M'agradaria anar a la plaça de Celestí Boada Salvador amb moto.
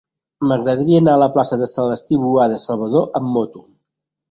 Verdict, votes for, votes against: accepted, 2, 1